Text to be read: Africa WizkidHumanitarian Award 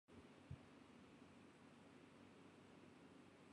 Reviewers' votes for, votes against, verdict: 0, 2, rejected